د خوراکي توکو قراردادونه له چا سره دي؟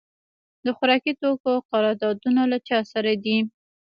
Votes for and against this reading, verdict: 0, 2, rejected